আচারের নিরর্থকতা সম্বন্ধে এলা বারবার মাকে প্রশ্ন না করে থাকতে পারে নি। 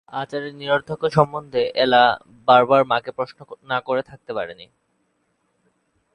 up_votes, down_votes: 2, 3